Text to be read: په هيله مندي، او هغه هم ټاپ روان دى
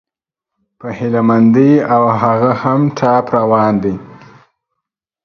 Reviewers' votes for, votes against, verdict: 2, 0, accepted